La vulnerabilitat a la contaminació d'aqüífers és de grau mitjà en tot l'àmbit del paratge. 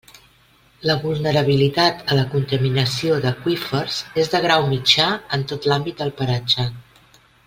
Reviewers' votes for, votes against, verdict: 2, 0, accepted